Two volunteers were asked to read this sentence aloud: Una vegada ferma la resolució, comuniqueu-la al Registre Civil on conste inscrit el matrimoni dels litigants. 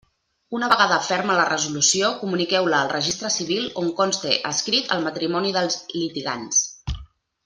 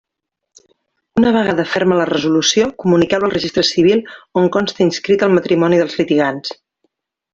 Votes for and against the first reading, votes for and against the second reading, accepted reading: 1, 2, 2, 0, second